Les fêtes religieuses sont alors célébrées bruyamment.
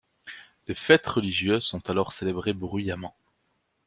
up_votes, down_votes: 2, 1